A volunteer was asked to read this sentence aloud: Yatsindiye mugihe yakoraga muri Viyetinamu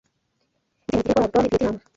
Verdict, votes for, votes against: rejected, 0, 2